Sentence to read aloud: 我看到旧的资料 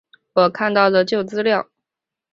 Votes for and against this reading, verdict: 2, 1, accepted